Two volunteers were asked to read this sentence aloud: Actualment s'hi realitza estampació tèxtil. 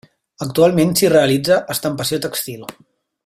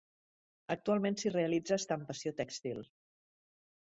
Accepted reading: second